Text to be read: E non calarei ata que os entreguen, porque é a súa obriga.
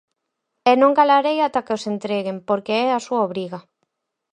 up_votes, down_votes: 4, 0